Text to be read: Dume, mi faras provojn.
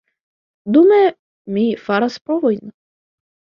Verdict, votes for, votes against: rejected, 0, 2